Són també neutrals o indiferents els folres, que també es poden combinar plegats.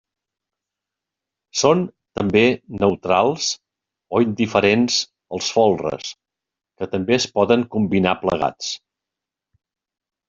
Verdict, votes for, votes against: accepted, 2, 0